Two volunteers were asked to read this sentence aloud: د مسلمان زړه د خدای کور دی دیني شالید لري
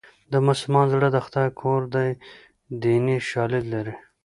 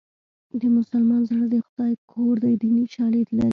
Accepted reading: first